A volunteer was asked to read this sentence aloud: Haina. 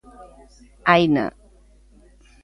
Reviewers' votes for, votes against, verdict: 2, 0, accepted